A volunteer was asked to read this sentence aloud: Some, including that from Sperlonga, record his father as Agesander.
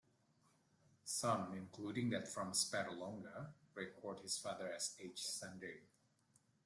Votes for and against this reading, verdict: 2, 1, accepted